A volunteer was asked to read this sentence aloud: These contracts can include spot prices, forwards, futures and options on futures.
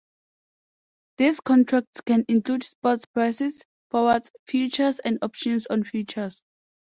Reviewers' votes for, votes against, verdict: 0, 2, rejected